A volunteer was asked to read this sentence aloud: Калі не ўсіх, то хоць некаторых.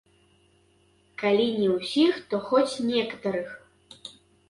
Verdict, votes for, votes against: rejected, 1, 2